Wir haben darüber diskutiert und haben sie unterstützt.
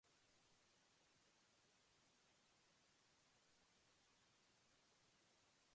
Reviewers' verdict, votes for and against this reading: rejected, 0, 2